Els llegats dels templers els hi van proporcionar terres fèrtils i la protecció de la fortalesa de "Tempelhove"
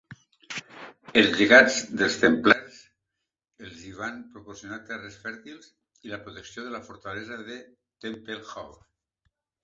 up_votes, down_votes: 1, 2